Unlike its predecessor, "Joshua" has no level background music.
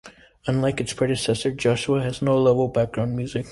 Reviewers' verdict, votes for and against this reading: accepted, 2, 0